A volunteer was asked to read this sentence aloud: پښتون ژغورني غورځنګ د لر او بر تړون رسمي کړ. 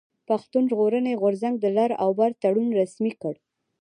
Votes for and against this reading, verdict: 1, 2, rejected